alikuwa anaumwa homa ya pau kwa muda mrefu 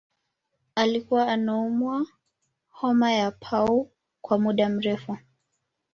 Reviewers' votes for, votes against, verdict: 2, 0, accepted